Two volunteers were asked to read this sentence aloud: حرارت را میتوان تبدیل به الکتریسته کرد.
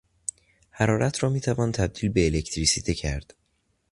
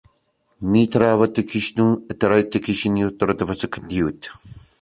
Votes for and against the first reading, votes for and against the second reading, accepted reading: 2, 0, 0, 2, first